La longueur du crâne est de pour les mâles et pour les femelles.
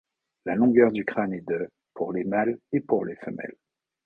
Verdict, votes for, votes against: accepted, 2, 0